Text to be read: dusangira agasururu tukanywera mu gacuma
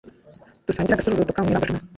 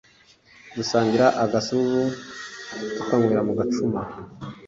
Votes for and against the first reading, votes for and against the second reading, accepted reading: 0, 2, 2, 0, second